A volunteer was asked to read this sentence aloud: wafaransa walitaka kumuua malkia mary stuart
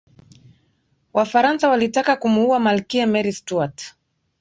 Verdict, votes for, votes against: accepted, 4, 1